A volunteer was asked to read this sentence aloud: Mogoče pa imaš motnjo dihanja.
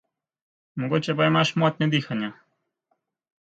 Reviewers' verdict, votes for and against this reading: accepted, 2, 0